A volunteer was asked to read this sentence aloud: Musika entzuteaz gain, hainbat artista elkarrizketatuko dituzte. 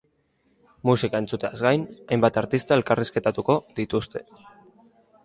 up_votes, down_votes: 2, 0